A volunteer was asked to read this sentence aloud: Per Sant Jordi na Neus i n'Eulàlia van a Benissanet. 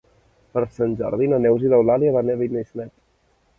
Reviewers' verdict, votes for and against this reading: rejected, 0, 2